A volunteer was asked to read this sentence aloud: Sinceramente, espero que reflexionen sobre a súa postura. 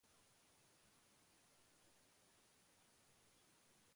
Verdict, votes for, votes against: rejected, 0, 2